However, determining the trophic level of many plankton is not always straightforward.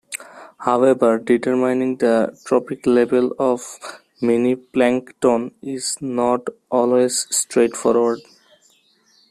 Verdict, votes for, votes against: rejected, 1, 2